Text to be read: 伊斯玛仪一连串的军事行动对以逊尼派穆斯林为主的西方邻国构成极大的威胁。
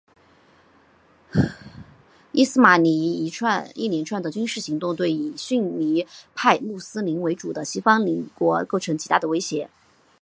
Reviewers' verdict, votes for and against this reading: rejected, 0, 2